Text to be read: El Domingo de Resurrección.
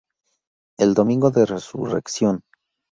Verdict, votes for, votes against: accepted, 4, 0